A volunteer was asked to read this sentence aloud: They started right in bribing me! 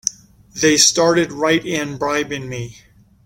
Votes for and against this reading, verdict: 2, 0, accepted